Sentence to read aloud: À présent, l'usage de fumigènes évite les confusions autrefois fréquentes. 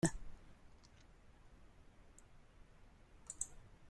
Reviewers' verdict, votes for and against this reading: rejected, 0, 2